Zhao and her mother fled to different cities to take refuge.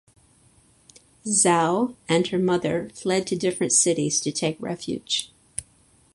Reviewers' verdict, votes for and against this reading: accepted, 2, 0